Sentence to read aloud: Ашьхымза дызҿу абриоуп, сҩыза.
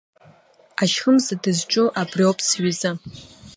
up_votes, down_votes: 2, 0